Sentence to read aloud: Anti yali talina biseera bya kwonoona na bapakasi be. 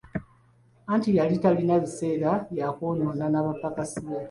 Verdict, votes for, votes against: rejected, 0, 2